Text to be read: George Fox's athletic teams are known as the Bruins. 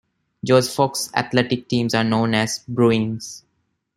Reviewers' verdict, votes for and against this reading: accepted, 2, 1